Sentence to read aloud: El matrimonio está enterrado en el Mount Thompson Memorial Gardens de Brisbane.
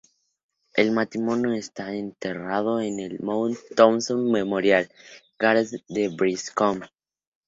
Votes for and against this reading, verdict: 0, 4, rejected